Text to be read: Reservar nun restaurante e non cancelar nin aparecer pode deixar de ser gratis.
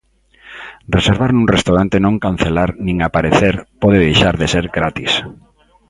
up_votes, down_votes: 0, 2